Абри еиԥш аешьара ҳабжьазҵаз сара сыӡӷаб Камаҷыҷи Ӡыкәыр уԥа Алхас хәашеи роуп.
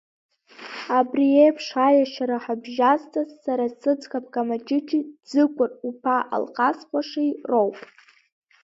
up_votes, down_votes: 2, 1